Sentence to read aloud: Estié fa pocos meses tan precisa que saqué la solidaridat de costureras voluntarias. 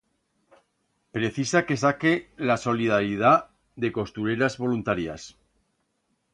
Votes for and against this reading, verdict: 1, 2, rejected